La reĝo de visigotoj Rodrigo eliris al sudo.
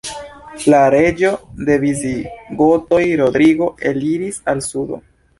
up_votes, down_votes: 1, 2